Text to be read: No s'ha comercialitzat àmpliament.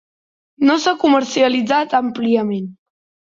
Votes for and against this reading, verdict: 2, 0, accepted